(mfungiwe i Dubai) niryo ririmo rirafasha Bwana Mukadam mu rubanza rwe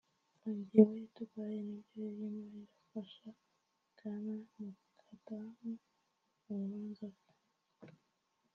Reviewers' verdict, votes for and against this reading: rejected, 0, 2